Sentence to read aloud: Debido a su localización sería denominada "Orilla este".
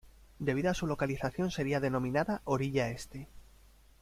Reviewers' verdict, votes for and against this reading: accepted, 2, 0